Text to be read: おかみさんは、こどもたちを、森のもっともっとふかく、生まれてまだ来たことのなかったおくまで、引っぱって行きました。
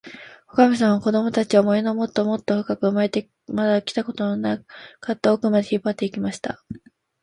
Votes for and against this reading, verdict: 0, 3, rejected